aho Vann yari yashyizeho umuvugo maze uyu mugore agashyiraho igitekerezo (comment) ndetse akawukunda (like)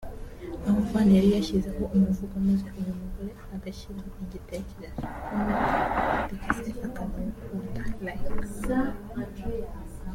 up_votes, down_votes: 0, 2